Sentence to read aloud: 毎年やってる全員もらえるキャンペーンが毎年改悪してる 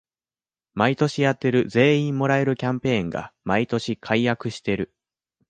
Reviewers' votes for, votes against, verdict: 2, 0, accepted